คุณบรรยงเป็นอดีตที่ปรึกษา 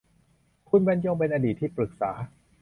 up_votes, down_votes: 2, 0